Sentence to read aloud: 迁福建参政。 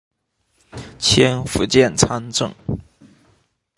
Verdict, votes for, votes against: accepted, 2, 0